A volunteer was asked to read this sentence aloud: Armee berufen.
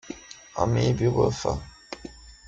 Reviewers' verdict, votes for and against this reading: rejected, 0, 2